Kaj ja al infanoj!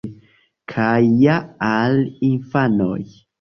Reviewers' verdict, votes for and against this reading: accepted, 2, 0